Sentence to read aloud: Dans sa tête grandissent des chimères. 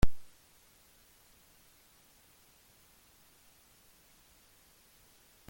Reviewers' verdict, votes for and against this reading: rejected, 0, 2